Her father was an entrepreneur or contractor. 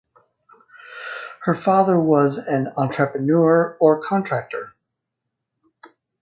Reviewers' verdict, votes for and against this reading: rejected, 2, 2